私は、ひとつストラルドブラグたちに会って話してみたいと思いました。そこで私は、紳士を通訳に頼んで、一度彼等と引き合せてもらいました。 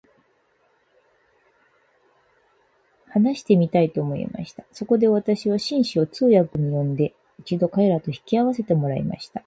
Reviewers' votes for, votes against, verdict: 4, 2, accepted